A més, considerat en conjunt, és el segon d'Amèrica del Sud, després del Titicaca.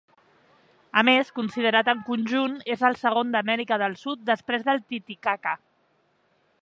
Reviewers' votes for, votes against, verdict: 5, 0, accepted